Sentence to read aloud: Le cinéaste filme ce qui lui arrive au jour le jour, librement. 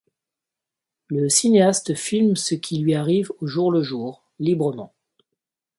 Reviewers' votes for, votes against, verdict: 2, 0, accepted